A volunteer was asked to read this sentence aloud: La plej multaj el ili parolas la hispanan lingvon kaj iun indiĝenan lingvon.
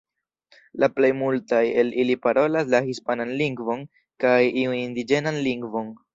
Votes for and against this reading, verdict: 0, 2, rejected